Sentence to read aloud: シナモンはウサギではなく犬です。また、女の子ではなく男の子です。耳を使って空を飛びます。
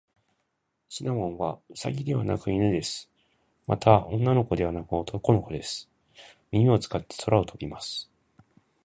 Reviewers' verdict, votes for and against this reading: accepted, 2, 0